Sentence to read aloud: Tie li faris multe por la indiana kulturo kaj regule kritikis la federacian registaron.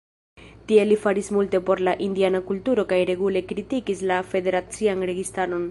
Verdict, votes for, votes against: rejected, 0, 2